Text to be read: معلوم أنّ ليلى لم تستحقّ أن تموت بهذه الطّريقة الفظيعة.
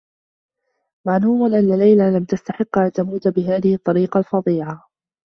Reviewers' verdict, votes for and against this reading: accepted, 2, 0